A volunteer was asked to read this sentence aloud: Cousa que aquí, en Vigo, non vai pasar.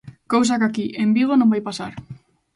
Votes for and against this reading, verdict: 2, 0, accepted